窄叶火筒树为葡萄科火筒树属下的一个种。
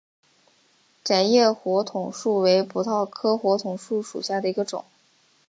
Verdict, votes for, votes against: accepted, 2, 0